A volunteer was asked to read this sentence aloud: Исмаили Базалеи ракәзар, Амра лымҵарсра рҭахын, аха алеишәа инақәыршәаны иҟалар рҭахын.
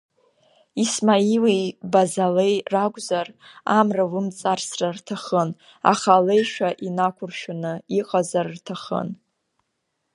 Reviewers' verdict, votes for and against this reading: rejected, 1, 2